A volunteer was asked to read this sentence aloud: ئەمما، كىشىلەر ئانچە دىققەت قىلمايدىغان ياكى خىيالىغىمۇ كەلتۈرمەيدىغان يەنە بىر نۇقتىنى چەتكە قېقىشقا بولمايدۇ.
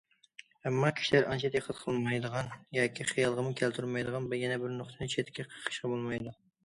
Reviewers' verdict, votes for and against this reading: rejected, 1, 2